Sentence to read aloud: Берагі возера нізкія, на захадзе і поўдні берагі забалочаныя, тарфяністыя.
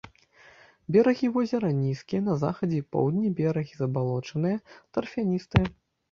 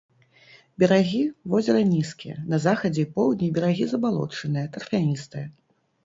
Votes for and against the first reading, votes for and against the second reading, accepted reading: 0, 2, 2, 0, second